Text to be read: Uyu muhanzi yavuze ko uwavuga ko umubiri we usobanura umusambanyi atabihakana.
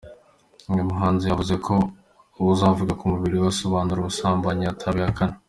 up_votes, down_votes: 2, 1